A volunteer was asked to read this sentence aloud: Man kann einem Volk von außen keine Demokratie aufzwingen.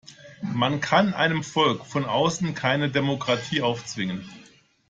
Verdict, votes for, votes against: accepted, 2, 0